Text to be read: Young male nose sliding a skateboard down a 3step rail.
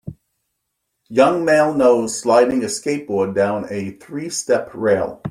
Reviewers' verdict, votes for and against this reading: rejected, 0, 2